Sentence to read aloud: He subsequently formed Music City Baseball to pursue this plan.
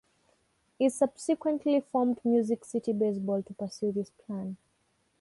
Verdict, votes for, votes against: rejected, 3, 4